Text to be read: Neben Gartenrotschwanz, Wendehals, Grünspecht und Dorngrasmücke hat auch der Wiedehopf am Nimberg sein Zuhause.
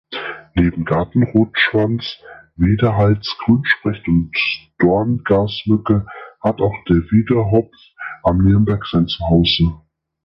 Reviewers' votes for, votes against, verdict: 0, 2, rejected